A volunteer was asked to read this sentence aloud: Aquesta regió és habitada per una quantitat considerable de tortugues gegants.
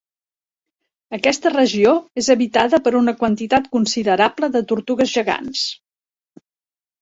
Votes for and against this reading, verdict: 2, 0, accepted